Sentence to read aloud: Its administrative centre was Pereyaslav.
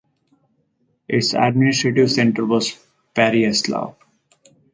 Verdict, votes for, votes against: accepted, 6, 0